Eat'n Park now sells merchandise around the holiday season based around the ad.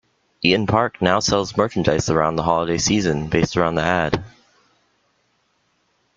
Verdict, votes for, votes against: accepted, 2, 0